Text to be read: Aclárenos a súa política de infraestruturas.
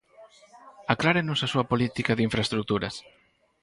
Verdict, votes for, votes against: accepted, 4, 0